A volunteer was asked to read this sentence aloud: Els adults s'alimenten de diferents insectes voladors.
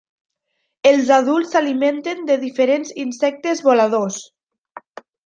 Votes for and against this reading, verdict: 2, 0, accepted